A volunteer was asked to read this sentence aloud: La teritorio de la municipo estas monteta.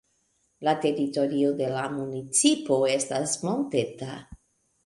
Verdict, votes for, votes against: accepted, 2, 0